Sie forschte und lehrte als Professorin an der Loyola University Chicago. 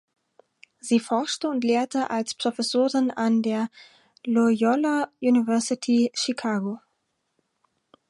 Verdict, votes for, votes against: rejected, 2, 4